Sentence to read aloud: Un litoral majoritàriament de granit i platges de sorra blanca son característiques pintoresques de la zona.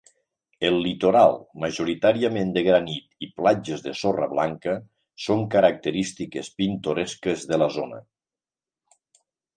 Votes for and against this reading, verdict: 1, 2, rejected